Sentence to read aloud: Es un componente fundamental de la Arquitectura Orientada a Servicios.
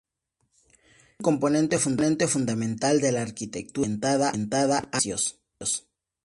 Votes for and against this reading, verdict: 0, 2, rejected